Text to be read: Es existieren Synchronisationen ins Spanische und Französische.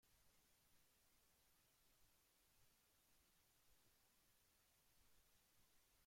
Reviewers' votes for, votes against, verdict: 0, 2, rejected